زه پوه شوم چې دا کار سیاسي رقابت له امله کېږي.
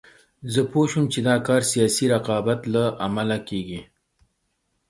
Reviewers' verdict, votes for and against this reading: accepted, 3, 0